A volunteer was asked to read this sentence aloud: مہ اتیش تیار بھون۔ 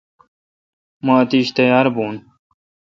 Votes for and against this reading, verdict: 2, 0, accepted